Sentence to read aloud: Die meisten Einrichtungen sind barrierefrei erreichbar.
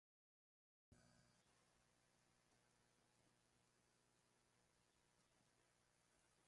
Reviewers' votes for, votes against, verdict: 0, 2, rejected